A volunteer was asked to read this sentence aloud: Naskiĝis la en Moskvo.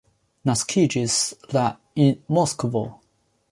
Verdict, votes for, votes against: accepted, 2, 0